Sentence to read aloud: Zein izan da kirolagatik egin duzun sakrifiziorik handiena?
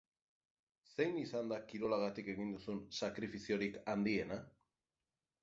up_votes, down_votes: 6, 0